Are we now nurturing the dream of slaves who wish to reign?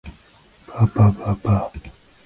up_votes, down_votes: 0, 2